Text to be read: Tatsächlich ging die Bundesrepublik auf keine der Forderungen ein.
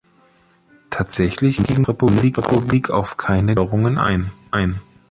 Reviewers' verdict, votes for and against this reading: rejected, 0, 2